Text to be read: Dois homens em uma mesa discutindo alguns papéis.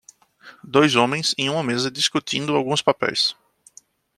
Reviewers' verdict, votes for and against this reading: accepted, 2, 0